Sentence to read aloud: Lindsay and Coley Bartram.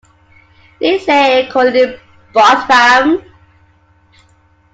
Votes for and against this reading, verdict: 2, 1, accepted